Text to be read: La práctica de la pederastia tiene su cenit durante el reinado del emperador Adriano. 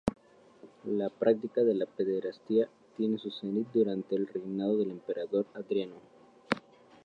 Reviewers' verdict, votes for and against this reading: rejected, 0, 2